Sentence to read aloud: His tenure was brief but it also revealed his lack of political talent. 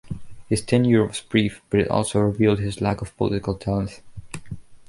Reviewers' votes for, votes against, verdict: 2, 0, accepted